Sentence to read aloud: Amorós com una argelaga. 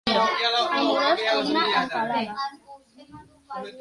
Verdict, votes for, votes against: rejected, 1, 2